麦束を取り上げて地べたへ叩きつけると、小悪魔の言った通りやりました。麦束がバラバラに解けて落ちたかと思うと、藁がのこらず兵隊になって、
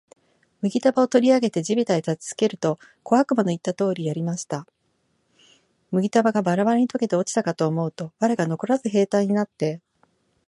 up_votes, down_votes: 3, 0